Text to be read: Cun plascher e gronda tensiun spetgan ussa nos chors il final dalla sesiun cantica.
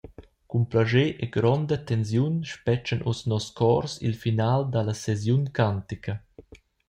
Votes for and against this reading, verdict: 0, 2, rejected